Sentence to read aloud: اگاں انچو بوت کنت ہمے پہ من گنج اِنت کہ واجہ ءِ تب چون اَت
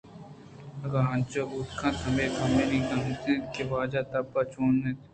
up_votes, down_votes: 2, 0